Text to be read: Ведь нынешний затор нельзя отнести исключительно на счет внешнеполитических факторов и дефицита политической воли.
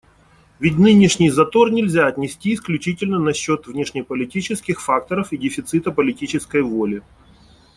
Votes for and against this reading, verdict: 2, 0, accepted